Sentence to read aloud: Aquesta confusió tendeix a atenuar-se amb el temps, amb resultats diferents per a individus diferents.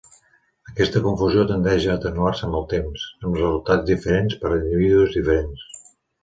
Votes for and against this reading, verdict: 2, 1, accepted